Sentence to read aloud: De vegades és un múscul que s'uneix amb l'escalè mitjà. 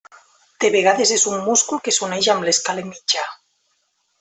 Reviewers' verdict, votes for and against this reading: rejected, 1, 2